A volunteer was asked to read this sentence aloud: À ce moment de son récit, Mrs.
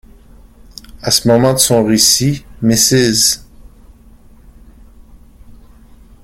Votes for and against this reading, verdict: 1, 2, rejected